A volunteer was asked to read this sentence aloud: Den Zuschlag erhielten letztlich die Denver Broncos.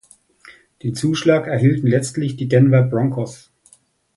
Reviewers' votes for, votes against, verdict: 1, 3, rejected